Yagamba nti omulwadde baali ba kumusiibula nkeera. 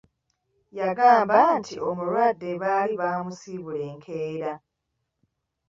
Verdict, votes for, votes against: rejected, 0, 2